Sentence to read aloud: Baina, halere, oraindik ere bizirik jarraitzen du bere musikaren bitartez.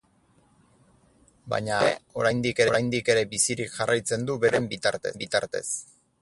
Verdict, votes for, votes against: rejected, 0, 8